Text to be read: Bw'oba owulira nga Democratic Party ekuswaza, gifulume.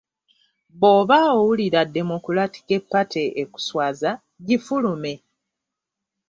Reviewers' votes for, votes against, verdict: 1, 2, rejected